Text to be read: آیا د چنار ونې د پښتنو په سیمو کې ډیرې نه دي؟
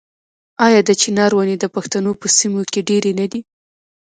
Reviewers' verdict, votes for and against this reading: accepted, 2, 0